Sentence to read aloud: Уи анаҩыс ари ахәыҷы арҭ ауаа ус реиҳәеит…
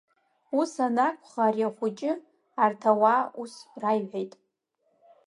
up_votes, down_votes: 1, 2